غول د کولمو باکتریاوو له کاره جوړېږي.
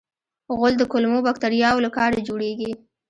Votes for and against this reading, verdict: 1, 2, rejected